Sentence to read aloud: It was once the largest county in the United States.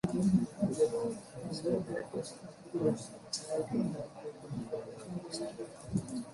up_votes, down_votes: 0, 2